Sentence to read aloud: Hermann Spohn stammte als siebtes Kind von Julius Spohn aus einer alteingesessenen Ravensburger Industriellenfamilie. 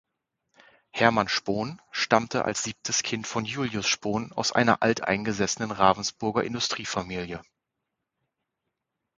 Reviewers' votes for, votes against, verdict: 0, 2, rejected